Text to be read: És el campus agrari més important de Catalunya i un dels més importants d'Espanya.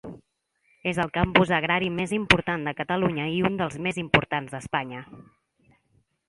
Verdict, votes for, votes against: accepted, 2, 0